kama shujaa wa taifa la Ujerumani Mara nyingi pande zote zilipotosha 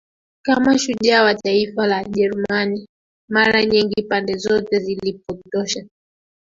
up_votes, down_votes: 0, 2